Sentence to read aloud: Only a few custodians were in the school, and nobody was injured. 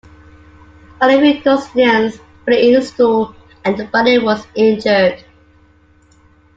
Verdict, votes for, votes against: rejected, 0, 2